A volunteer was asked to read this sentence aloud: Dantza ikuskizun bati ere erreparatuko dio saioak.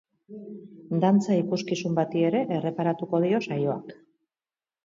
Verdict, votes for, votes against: rejected, 0, 2